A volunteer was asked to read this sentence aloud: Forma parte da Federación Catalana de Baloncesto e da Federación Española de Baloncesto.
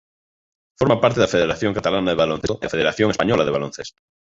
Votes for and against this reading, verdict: 1, 2, rejected